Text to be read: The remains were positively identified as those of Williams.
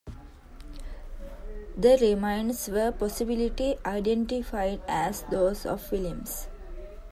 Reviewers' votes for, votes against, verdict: 2, 1, accepted